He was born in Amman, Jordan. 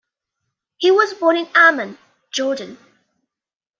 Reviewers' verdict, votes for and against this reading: rejected, 0, 2